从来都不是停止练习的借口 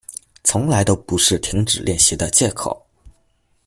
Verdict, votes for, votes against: accepted, 2, 0